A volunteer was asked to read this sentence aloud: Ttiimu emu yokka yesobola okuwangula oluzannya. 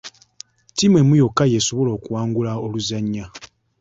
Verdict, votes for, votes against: accepted, 2, 0